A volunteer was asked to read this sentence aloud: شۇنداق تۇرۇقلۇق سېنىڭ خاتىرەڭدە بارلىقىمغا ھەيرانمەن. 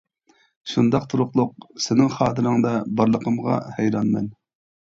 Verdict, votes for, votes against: accepted, 2, 0